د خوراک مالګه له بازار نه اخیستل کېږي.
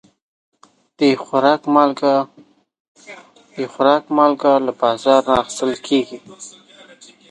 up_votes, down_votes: 1, 2